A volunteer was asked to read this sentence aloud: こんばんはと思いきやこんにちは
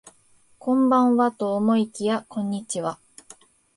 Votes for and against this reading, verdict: 2, 0, accepted